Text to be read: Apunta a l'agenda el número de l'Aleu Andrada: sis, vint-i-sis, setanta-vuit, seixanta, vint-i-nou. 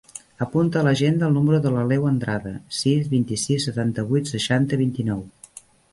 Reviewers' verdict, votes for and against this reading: accepted, 3, 0